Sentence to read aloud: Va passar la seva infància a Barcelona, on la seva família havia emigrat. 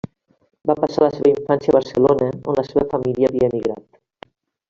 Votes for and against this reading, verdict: 1, 2, rejected